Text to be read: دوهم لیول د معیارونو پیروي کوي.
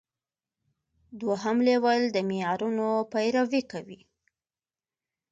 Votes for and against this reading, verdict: 2, 0, accepted